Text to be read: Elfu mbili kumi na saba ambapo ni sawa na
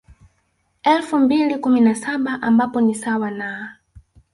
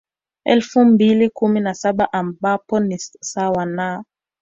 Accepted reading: second